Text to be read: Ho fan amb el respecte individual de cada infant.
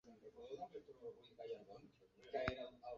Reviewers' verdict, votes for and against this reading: accepted, 2, 1